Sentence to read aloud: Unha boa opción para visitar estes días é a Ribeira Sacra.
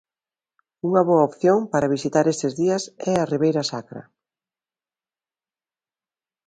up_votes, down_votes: 2, 1